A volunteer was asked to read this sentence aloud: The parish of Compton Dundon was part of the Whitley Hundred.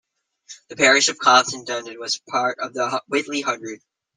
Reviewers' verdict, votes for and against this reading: rejected, 0, 2